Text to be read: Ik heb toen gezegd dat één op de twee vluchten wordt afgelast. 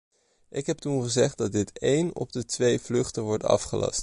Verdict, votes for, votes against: rejected, 0, 2